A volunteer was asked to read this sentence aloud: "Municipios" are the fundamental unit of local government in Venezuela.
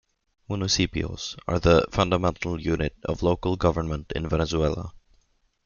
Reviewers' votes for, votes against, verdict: 2, 0, accepted